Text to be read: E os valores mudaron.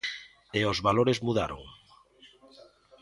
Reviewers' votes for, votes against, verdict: 2, 1, accepted